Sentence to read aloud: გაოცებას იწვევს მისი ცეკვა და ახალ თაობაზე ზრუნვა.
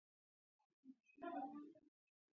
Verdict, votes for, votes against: rejected, 0, 2